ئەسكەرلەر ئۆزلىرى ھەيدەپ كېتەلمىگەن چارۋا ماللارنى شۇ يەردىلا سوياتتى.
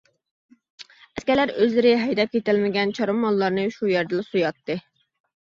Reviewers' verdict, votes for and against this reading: accepted, 2, 0